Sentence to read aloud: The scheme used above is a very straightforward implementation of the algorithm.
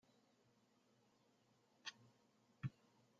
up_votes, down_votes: 0, 2